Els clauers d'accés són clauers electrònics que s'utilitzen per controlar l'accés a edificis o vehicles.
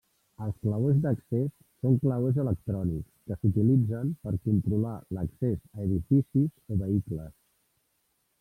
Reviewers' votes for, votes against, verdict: 0, 2, rejected